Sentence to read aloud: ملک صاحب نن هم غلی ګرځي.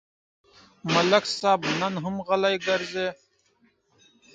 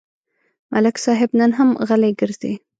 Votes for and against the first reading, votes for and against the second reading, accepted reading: 0, 2, 2, 0, second